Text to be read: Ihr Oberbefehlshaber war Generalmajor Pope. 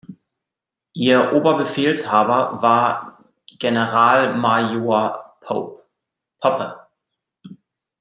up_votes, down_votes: 0, 2